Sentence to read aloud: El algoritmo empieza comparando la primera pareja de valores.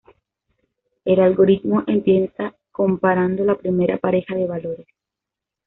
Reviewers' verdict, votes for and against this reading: accepted, 2, 0